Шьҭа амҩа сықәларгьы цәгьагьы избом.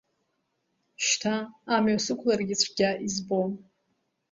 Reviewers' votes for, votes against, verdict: 1, 2, rejected